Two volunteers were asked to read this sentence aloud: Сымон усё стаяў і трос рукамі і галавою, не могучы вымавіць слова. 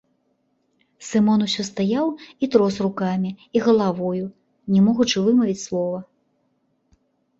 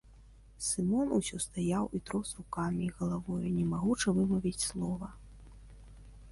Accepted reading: first